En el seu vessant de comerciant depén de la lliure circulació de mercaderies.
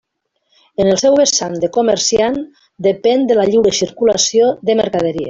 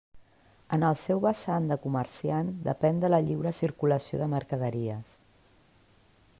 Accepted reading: second